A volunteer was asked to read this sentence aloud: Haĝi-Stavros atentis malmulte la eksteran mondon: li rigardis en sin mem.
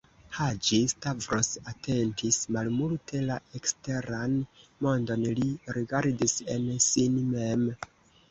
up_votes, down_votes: 2, 0